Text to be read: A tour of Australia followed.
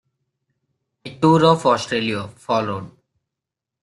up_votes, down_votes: 2, 0